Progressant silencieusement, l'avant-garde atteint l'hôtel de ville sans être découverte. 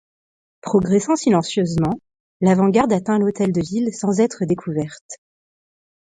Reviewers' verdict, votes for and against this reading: accepted, 2, 0